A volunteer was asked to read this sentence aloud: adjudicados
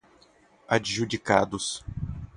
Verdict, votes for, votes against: accepted, 6, 0